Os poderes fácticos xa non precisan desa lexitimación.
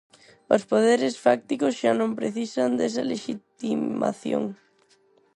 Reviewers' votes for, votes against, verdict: 0, 4, rejected